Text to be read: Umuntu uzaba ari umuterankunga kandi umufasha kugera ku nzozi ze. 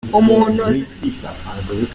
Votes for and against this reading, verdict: 1, 2, rejected